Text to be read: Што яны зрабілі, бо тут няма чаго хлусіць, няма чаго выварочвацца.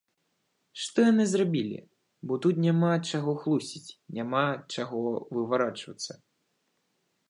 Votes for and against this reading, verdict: 0, 2, rejected